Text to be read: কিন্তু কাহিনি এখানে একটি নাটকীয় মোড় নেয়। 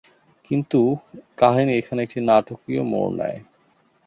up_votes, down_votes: 2, 0